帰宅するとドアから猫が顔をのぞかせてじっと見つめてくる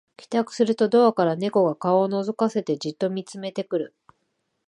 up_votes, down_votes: 2, 0